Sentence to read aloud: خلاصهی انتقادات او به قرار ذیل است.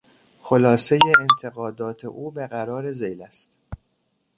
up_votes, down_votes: 1, 2